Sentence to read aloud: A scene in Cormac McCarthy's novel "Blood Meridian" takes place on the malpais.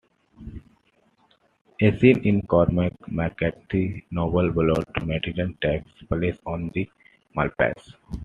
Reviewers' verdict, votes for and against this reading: accepted, 2, 1